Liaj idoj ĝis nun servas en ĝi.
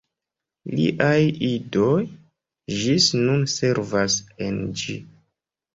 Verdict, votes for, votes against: accepted, 2, 0